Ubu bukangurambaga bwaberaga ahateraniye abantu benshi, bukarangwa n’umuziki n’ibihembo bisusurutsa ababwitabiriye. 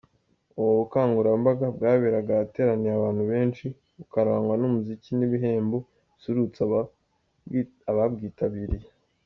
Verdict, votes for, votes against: accepted, 2, 0